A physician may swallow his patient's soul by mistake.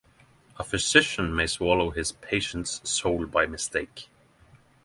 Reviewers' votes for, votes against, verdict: 6, 0, accepted